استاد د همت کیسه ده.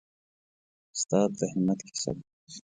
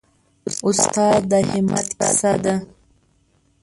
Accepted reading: first